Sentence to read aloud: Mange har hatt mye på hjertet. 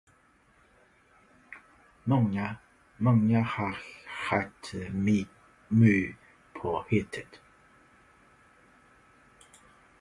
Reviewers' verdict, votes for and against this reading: rejected, 0, 2